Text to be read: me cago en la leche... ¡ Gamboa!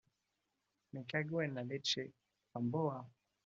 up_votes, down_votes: 2, 0